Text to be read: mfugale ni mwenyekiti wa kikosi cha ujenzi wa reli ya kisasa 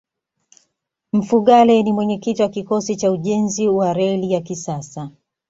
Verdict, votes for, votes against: accepted, 2, 0